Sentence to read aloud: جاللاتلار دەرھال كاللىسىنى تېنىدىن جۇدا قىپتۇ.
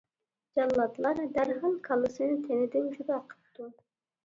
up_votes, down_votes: 2, 0